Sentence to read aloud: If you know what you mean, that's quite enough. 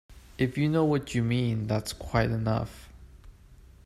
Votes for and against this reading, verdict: 2, 0, accepted